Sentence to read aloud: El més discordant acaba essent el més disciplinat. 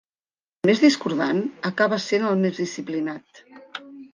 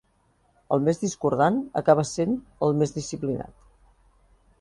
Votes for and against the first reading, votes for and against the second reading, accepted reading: 1, 2, 2, 0, second